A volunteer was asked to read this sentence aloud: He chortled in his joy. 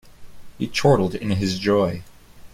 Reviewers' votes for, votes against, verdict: 2, 0, accepted